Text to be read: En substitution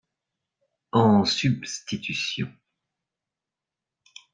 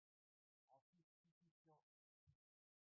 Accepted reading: first